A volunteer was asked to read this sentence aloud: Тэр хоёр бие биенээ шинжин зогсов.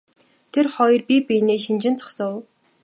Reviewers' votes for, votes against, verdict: 0, 2, rejected